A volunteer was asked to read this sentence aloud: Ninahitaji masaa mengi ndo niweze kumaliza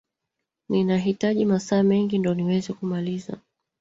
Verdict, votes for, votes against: rejected, 0, 2